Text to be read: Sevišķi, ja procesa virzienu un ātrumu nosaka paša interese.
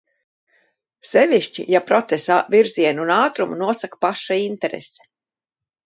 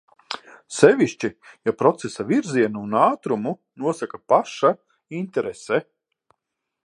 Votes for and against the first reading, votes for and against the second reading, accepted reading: 0, 2, 6, 0, second